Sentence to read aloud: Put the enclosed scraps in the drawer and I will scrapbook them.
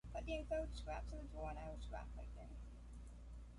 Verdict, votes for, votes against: rejected, 0, 2